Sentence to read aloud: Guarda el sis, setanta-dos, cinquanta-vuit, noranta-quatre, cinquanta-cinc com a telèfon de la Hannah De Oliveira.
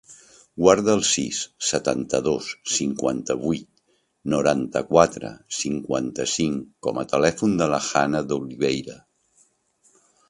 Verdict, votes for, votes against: accepted, 2, 1